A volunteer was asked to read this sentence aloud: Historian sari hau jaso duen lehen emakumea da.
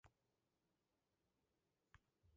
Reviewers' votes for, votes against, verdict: 0, 5, rejected